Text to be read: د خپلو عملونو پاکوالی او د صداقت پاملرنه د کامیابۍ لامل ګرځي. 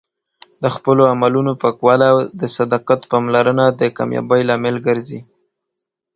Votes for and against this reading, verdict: 2, 0, accepted